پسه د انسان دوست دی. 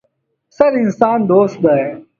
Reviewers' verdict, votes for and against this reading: accepted, 2, 1